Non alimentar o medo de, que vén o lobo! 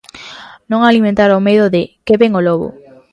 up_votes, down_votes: 0, 2